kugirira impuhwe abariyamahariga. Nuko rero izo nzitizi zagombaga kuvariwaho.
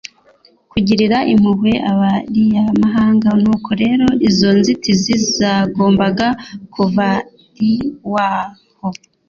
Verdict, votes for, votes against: accepted, 2, 0